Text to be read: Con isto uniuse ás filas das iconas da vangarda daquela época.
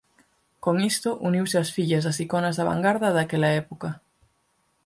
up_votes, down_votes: 22, 30